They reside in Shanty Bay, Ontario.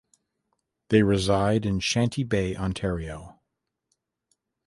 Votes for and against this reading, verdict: 2, 0, accepted